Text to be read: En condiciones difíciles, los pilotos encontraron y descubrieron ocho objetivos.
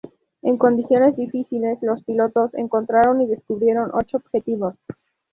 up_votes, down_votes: 4, 2